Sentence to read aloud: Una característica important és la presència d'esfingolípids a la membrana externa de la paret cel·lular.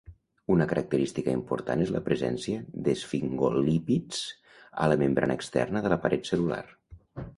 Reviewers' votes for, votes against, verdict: 4, 0, accepted